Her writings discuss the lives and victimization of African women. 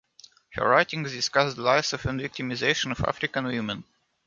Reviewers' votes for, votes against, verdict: 1, 2, rejected